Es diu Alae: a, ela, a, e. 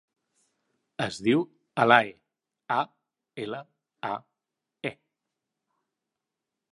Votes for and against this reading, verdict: 3, 1, accepted